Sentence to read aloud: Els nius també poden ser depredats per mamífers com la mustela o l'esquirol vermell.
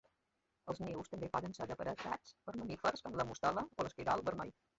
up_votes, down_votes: 0, 2